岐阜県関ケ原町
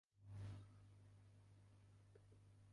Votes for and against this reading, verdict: 0, 2, rejected